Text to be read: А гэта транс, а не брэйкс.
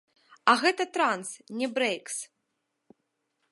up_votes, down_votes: 1, 2